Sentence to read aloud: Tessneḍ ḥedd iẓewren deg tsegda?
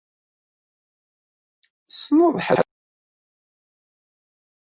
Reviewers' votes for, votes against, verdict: 0, 2, rejected